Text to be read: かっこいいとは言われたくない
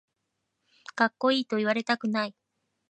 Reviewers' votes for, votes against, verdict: 1, 2, rejected